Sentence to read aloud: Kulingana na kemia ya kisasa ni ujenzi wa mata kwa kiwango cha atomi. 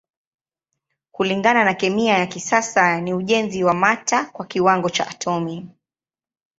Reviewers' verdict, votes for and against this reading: accepted, 2, 0